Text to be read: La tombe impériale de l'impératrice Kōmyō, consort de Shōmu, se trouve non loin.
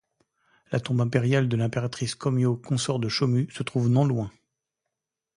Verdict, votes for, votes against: accepted, 2, 0